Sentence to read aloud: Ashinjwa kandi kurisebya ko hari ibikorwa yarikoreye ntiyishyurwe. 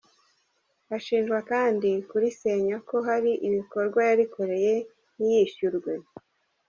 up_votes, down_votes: 0, 2